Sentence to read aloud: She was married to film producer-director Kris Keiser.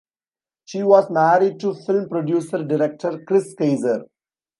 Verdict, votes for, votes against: accepted, 2, 0